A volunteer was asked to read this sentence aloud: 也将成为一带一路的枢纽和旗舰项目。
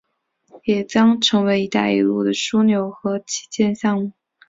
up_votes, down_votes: 3, 0